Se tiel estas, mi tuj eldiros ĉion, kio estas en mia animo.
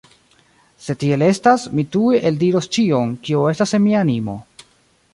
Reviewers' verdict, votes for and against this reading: rejected, 2, 3